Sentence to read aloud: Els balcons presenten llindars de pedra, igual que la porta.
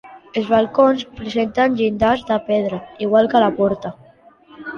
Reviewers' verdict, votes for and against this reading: accepted, 2, 0